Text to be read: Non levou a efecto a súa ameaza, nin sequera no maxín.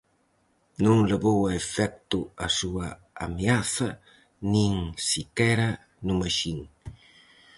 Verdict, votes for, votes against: rejected, 2, 2